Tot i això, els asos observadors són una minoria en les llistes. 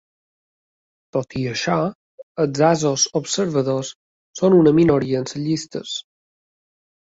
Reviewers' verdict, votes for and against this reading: rejected, 1, 2